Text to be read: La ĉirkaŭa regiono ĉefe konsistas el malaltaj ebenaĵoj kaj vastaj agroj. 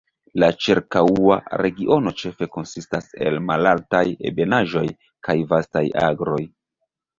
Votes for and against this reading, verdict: 0, 2, rejected